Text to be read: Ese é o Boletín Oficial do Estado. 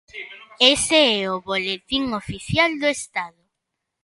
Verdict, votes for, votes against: accepted, 2, 0